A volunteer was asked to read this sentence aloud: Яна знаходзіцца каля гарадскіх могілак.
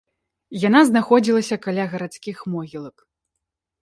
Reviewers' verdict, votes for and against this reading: rejected, 0, 2